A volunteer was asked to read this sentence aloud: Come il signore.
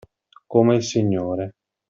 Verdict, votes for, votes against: accepted, 2, 1